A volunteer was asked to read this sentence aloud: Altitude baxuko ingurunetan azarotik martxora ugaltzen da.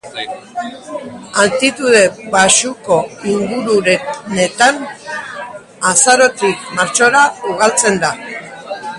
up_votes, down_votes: 0, 3